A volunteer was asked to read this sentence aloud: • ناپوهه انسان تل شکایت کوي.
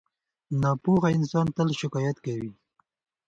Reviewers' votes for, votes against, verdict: 2, 0, accepted